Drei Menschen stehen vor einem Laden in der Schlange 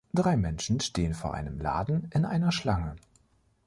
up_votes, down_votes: 0, 2